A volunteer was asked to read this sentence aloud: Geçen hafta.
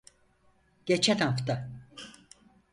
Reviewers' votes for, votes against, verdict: 4, 0, accepted